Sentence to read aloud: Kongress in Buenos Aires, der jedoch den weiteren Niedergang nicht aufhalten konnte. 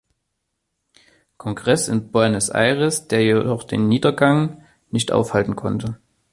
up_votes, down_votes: 1, 2